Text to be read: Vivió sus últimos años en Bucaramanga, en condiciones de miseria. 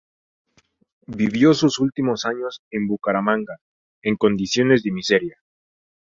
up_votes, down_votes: 0, 2